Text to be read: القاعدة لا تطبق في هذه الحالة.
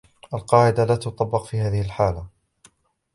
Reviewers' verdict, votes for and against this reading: accepted, 2, 0